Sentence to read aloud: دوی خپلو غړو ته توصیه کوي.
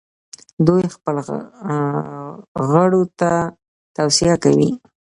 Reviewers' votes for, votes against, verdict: 0, 2, rejected